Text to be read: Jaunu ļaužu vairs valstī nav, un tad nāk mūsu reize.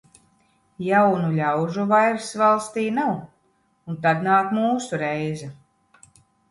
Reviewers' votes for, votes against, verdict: 1, 2, rejected